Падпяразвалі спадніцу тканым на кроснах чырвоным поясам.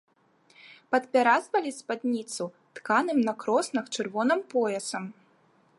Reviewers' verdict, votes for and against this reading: accepted, 2, 0